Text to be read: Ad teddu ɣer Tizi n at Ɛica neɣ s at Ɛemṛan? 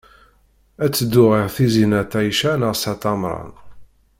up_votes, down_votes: 1, 2